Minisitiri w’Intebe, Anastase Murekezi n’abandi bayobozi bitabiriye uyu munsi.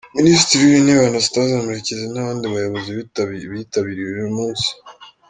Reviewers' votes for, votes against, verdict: 1, 2, rejected